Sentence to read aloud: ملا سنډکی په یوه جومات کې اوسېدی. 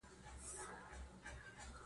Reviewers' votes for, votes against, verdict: 1, 2, rejected